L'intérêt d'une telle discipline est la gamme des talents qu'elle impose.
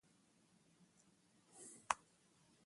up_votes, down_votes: 0, 2